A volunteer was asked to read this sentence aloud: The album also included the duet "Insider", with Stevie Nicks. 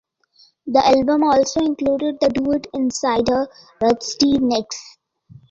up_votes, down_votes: 2, 1